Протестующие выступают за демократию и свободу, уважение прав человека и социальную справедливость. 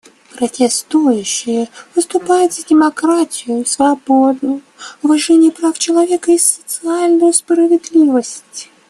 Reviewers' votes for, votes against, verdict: 2, 0, accepted